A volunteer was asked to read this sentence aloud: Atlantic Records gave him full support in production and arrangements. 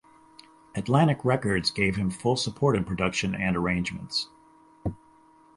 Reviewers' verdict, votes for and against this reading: accepted, 4, 0